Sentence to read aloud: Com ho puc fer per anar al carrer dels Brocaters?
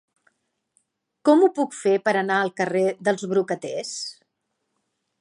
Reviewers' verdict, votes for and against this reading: accepted, 2, 0